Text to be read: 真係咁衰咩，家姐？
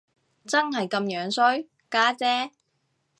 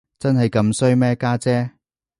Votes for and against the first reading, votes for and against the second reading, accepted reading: 0, 2, 2, 0, second